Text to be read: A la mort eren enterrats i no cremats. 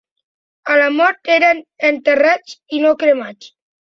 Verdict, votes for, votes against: accepted, 2, 0